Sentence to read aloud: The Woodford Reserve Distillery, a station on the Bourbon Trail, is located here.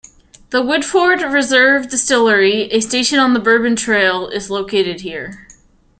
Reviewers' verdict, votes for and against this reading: accepted, 2, 0